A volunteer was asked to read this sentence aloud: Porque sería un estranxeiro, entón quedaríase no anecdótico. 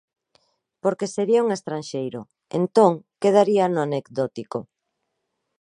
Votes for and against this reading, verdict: 1, 2, rejected